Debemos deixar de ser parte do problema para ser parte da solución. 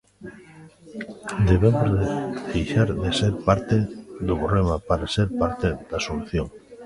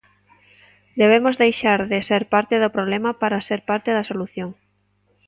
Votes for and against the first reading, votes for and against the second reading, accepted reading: 0, 2, 2, 0, second